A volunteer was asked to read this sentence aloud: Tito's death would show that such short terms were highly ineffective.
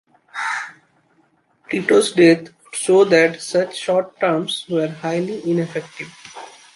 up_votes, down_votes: 0, 2